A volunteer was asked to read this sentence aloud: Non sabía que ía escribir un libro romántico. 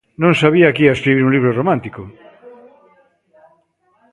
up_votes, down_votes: 2, 0